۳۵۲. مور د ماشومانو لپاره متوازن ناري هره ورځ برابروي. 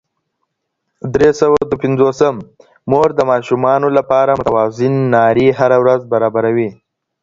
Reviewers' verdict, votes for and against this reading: rejected, 0, 2